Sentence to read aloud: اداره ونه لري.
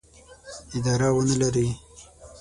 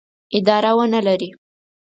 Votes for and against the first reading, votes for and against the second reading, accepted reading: 3, 6, 4, 0, second